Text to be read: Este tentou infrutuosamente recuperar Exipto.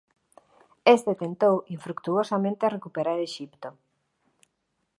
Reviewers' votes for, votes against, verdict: 1, 2, rejected